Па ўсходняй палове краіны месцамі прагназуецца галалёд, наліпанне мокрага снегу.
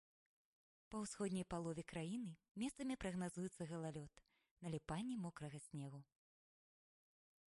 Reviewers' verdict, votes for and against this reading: accepted, 2, 0